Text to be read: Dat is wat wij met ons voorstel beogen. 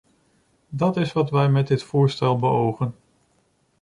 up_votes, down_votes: 0, 2